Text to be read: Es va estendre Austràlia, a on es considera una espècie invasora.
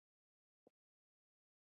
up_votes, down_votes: 0, 2